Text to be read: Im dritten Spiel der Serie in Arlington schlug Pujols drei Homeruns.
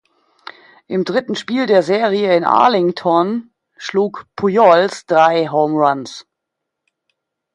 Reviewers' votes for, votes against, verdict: 2, 0, accepted